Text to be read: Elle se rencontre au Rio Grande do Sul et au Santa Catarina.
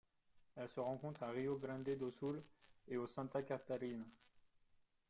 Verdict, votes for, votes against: rejected, 1, 2